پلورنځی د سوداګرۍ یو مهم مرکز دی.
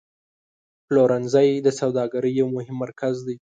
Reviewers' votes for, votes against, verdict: 2, 0, accepted